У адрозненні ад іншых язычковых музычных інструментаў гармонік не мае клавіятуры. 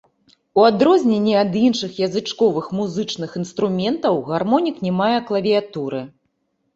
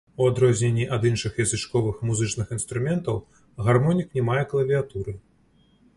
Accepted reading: second